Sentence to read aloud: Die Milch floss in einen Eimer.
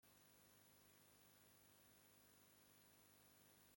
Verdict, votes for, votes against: rejected, 0, 2